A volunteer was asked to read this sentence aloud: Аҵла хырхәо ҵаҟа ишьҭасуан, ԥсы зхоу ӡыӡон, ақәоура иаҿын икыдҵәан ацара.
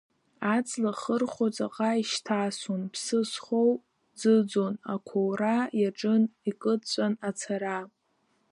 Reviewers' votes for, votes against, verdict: 0, 2, rejected